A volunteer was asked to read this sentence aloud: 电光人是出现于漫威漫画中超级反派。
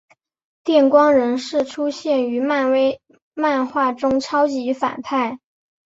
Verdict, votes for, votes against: accepted, 3, 0